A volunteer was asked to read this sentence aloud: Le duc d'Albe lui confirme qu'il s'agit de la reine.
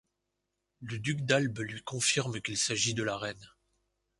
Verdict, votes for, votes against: accepted, 2, 0